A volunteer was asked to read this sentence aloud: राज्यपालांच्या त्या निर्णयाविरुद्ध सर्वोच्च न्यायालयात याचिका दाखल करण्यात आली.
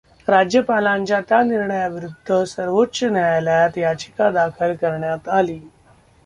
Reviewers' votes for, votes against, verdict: 0, 2, rejected